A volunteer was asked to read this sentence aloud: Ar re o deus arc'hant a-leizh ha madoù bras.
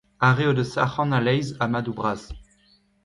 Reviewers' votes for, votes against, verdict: 2, 1, accepted